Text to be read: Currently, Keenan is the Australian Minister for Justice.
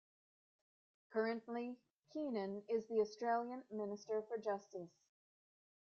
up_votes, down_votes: 2, 0